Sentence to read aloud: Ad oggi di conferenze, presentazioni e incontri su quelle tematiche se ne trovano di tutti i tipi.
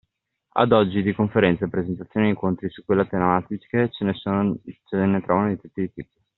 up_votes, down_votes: 1, 2